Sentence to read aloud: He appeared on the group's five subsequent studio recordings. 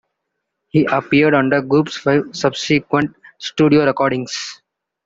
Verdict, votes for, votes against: accepted, 2, 1